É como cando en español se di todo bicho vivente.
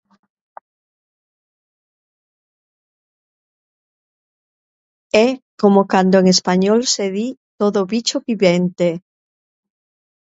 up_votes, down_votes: 0, 2